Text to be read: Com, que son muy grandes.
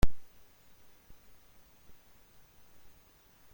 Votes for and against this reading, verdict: 0, 2, rejected